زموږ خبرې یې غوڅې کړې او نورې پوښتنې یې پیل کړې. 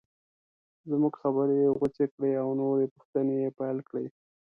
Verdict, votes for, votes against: accepted, 2, 0